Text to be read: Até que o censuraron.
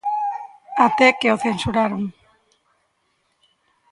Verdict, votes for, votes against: rejected, 1, 2